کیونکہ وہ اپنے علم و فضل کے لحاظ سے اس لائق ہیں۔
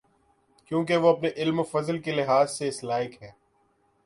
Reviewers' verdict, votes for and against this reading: accepted, 11, 2